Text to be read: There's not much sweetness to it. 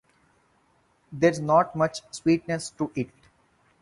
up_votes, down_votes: 4, 0